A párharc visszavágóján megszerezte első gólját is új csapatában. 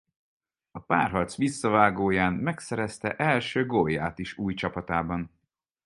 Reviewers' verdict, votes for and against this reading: accepted, 4, 0